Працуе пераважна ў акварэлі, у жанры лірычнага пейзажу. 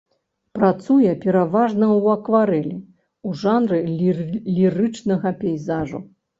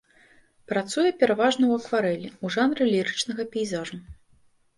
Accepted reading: second